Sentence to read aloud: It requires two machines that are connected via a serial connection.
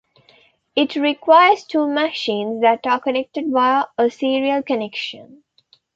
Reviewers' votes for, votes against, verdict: 2, 1, accepted